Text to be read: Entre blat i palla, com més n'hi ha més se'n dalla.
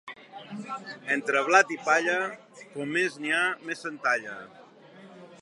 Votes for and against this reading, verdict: 2, 0, accepted